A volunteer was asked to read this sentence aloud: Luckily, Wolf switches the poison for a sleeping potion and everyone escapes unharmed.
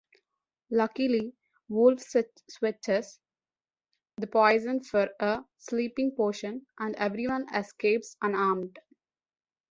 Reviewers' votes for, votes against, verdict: 1, 2, rejected